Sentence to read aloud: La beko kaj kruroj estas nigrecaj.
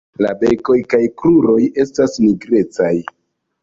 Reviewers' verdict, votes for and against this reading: rejected, 1, 2